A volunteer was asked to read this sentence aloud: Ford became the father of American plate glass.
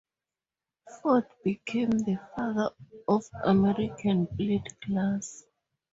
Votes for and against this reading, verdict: 8, 4, accepted